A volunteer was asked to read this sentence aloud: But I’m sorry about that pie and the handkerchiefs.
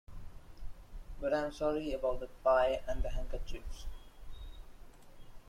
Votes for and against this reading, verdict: 2, 0, accepted